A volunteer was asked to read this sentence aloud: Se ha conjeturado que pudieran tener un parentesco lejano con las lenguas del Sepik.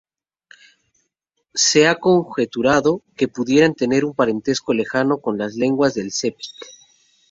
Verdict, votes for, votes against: rejected, 0, 2